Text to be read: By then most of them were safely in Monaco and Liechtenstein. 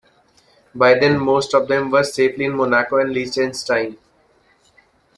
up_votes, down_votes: 0, 2